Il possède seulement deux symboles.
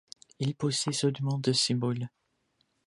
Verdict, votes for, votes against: rejected, 0, 2